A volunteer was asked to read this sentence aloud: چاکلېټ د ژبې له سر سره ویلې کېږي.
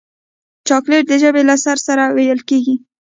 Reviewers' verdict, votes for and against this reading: rejected, 1, 2